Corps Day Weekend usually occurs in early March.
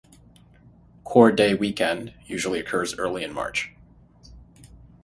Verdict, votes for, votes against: rejected, 0, 6